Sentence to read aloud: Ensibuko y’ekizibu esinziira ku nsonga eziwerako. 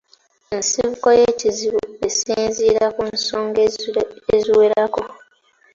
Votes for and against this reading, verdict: 2, 0, accepted